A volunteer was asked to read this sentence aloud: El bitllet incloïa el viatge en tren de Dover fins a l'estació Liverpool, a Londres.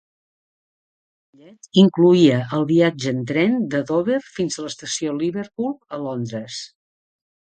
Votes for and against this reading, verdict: 0, 2, rejected